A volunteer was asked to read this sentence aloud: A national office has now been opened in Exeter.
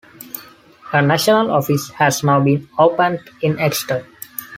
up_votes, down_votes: 2, 0